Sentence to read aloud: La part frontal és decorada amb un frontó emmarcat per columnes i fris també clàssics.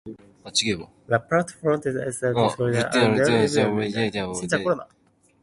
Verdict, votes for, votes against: rejected, 0, 2